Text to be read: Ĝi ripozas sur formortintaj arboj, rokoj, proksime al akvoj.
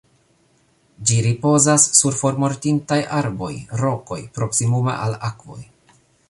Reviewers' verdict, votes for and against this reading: rejected, 1, 3